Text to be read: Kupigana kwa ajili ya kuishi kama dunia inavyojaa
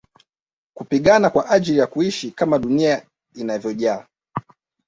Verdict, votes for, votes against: accepted, 2, 1